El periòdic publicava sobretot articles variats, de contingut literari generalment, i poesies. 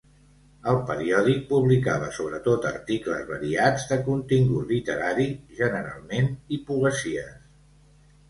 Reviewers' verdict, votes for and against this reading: accepted, 2, 0